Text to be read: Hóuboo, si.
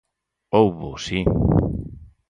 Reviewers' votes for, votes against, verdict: 4, 0, accepted